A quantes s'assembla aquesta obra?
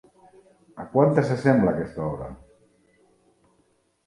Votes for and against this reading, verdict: 3, 0, accepted